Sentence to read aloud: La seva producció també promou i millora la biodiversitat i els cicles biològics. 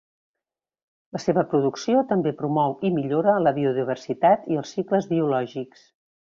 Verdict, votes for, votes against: accepted, 2, 0